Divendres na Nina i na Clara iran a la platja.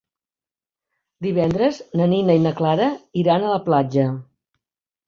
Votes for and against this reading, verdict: 4, 0, accepted